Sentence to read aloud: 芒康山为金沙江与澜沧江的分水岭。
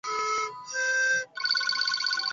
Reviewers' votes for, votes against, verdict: 1, 2, rejected